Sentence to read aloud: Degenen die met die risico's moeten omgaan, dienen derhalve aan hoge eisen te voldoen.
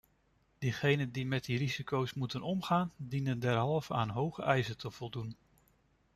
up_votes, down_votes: 1, 2